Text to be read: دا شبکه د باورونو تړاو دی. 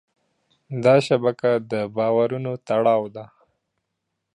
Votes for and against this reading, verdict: 3, 1, accepted